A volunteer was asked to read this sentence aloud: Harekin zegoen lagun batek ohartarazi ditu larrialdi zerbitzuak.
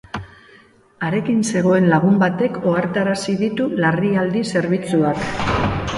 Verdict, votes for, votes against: rejected, 2, 2